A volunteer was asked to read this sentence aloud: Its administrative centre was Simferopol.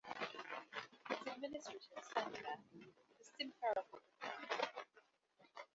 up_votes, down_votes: 0, 2